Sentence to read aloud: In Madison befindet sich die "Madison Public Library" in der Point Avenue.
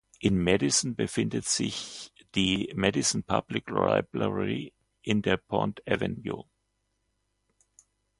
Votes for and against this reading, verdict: 0, 2, rejected